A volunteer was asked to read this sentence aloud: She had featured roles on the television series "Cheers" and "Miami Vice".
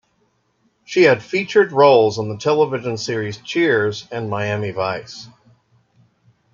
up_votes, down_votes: 1, 2